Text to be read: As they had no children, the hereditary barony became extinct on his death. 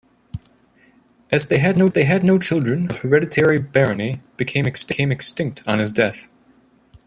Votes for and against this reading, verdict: 0, 2, rejected